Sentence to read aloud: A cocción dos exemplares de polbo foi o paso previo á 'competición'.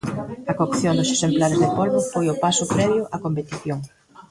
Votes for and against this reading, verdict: 0, 2, rejected